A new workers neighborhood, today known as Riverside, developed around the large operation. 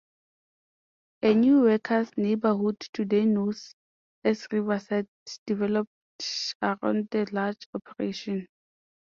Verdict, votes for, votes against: rejected, 0, 2